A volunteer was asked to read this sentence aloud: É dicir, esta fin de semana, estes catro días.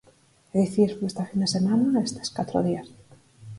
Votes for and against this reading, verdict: 4, 2, accepted